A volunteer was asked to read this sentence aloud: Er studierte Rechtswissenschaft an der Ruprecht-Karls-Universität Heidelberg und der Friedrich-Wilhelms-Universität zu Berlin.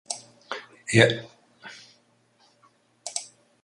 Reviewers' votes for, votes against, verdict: 0, 4, rejected